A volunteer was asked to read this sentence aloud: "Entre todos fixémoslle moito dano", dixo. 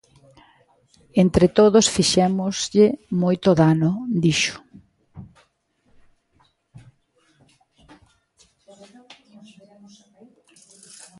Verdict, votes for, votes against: rejected, 1, 2